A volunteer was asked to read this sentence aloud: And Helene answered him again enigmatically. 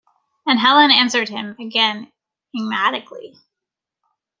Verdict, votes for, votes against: rejected, 0, 2